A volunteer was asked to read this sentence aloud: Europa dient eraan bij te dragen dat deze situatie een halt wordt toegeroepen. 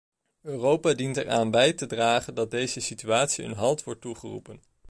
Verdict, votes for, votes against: accepted, 2, 0